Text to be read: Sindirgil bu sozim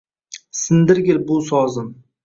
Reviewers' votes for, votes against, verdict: 2, 0, accepted